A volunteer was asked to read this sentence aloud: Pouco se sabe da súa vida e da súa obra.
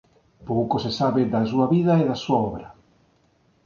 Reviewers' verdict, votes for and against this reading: accepted, 2, 0